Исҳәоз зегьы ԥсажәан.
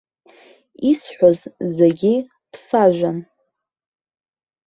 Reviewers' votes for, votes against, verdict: 0, 2, rejected